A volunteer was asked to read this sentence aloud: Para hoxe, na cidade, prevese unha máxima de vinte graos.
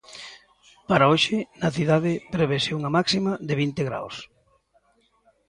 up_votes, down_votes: 2, 0